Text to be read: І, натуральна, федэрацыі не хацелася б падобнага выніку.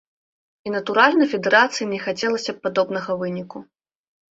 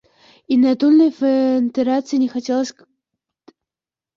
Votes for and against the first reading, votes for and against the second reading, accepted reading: 2, 0, 0, 2, first